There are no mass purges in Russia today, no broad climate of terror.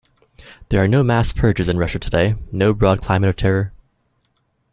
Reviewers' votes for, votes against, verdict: 0, 2, rejected